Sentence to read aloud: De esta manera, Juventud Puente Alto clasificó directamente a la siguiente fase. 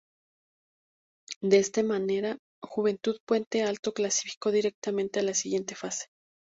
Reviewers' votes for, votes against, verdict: 0, 2, rejected